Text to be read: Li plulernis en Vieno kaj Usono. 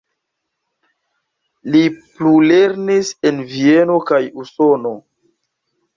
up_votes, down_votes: 2, 0